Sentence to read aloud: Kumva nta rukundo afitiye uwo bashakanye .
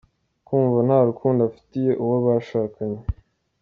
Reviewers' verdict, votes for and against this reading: accepted, 2, 0